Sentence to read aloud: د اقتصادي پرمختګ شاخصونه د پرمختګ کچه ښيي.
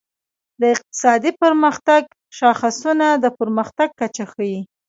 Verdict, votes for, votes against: rejected, 0, 2